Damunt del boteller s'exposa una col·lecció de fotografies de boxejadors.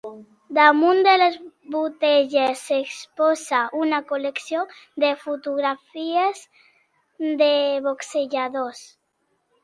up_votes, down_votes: 1, 2